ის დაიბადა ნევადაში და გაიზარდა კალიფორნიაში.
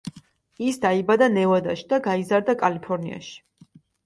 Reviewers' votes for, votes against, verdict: 2, 0, accepted